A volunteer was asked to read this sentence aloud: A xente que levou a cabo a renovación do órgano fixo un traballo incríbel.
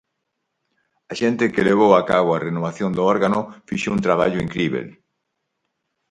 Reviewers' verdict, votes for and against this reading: accepted, 4, 0